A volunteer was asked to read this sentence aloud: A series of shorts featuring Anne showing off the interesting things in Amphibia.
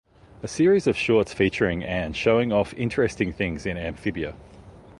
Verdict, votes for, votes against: accepted, 2, 0